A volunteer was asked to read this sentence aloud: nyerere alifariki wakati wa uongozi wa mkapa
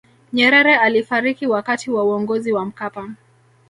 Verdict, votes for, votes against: rejected, 1, 2